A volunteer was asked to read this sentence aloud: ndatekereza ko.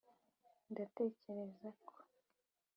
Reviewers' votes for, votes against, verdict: 2, 0, accepted